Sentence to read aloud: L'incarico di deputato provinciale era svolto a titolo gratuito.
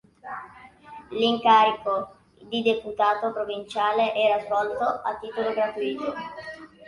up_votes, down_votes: 2, 1